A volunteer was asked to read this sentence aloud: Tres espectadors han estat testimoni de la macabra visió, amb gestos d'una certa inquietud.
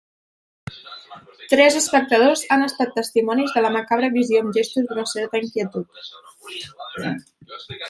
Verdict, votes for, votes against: rejected, 1, 2